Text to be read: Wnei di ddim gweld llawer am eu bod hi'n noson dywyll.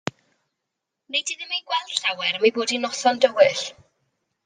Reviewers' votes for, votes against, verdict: 1, 2, rejected